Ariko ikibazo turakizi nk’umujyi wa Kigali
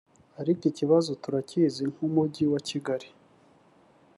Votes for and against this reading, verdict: 2, 0, accepted